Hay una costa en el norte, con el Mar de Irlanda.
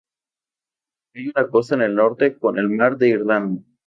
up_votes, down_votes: 2, 2